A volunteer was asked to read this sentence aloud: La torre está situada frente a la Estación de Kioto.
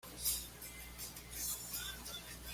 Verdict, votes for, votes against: rejected, 1, 2